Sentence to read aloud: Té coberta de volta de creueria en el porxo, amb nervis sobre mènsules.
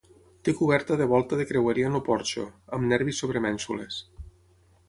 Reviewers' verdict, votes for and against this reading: rejected, 0, 6